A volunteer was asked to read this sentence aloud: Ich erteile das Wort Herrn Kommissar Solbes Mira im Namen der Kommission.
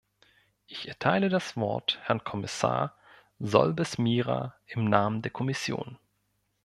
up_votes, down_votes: 2, 0